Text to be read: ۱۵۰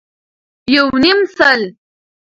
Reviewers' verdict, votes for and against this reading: rejected, 0, 2